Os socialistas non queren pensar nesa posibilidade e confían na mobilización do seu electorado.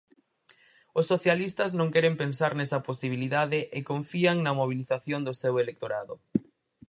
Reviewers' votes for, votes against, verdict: 4, 0, accepted